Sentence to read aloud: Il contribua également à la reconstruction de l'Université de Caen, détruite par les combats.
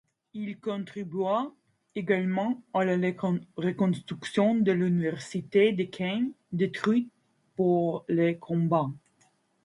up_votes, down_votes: 1, 2